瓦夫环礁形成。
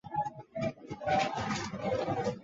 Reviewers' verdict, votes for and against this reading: rejected, 0, 3